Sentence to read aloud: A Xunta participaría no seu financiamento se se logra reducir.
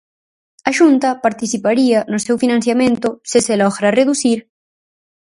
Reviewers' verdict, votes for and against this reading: accepted, 4, 0